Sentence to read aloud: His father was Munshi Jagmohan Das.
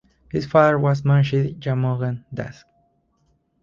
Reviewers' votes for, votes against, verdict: 2, 2, rejected